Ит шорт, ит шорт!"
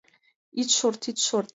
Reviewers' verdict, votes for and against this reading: accepted, 2, 0